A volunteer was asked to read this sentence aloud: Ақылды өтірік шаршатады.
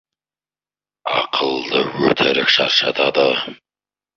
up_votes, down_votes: 2, 0